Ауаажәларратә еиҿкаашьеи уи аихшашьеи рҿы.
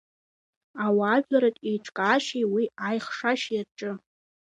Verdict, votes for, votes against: accepted, 2, 1